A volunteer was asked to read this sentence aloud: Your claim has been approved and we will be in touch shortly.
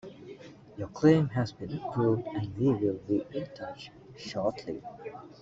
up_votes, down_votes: 1, 2